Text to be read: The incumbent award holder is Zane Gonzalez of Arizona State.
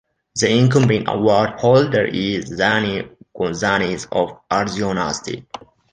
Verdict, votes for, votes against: rejected, 0, 2